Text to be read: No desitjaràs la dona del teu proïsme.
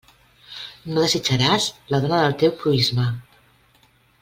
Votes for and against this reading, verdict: 2, 0, accepted